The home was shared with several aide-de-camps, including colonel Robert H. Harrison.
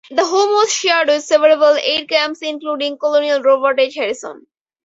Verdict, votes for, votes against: rejected, 0, 4